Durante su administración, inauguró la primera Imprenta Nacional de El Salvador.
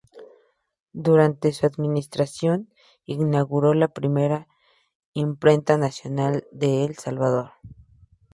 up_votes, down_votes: 4, 0